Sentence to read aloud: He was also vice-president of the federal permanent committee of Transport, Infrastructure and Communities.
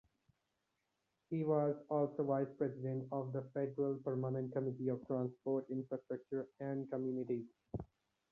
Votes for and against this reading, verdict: 2, 0, accepted